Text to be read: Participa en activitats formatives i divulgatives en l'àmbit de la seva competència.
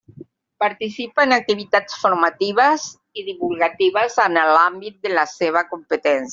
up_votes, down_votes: 0, 2